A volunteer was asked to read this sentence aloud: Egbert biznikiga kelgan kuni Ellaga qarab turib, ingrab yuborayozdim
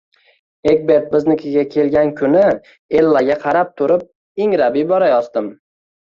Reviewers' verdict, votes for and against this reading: accepted, 2, 0